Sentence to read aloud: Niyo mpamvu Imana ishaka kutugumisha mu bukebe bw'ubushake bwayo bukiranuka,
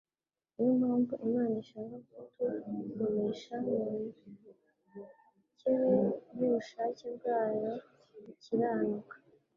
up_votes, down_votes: 1, 2